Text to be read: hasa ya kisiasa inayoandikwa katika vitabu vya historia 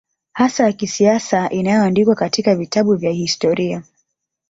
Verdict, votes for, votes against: rejected, 1, 2